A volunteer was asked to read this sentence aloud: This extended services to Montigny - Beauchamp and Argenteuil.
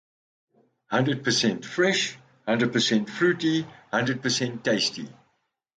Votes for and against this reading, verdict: 0, 2, rejected